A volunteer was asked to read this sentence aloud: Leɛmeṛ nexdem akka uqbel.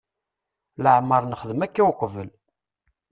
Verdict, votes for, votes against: accepted, 3, 0